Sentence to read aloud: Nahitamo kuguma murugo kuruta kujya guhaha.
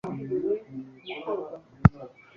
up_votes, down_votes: 0, 2